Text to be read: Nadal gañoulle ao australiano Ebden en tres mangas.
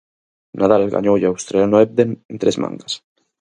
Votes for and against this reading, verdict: 2, 2, rejected